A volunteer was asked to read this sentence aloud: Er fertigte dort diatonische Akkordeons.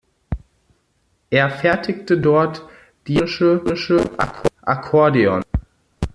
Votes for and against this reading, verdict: 0, 2, rejected